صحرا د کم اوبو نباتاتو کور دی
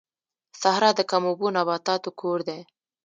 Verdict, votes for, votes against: accepted, 2, 0